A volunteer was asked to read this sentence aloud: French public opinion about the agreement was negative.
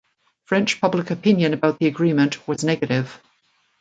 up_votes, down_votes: 2, 0